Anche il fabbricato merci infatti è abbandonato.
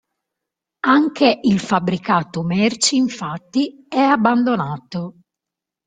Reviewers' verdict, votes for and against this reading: rejected, 1, 2